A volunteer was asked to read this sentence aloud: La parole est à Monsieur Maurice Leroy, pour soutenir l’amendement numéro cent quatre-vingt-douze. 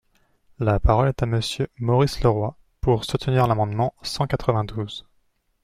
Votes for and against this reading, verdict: 0, 2, rejected